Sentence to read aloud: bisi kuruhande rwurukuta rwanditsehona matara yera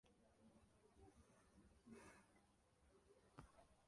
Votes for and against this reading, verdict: 0, 2, rejected